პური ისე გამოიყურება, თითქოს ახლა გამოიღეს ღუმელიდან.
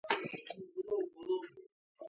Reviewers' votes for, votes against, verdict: 1, 2, rejected